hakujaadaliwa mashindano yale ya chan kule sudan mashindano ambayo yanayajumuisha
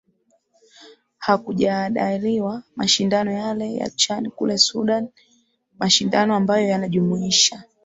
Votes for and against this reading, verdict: 2, 2, rejected